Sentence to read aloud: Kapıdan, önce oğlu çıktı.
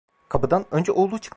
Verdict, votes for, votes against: rejected, 0, 2